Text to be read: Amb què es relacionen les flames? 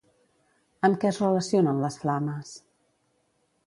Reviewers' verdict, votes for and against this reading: accepted, 2, 0